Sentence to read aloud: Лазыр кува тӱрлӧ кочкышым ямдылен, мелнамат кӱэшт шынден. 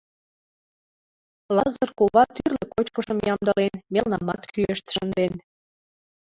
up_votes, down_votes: 0, 2